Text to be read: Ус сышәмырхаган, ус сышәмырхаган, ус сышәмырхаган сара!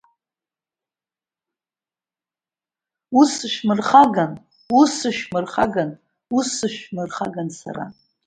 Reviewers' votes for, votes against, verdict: 2, 0, accepted